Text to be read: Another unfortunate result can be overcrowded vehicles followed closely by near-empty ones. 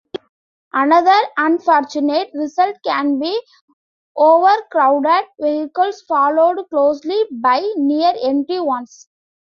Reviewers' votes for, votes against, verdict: 2, 0, accepted